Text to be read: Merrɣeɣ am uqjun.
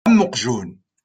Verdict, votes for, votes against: rejected, 0, 2